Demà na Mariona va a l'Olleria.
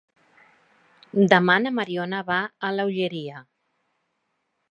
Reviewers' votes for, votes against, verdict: 0, 2, rejected